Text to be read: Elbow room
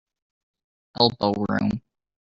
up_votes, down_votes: 1, 2